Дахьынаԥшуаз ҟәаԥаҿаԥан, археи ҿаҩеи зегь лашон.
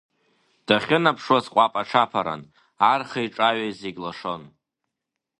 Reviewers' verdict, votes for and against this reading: rejected, 1, 2